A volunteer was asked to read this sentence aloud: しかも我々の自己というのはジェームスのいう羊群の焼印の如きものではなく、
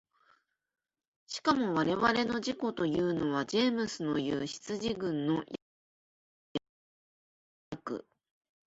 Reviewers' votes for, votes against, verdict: 0, 2, rejected